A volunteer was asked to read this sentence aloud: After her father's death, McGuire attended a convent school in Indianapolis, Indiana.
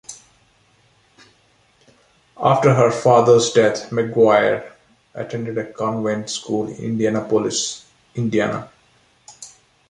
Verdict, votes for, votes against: accepted, 2, 1